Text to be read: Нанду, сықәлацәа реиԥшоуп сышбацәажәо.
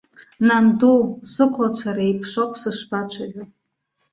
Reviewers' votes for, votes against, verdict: 2, 1, accepted